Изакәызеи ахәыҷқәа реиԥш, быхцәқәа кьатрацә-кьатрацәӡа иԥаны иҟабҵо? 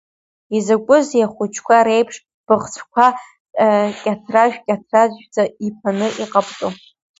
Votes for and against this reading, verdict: 1, 2, rejected